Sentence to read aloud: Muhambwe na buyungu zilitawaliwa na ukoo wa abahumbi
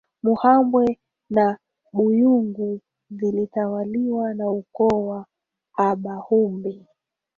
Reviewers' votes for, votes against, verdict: 1, 2, rejected